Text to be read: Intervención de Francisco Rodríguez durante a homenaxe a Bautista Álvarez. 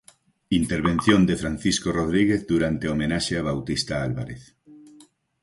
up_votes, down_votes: 4, 0